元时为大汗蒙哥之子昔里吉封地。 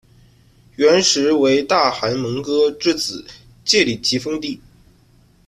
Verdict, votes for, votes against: rejected, 1, 2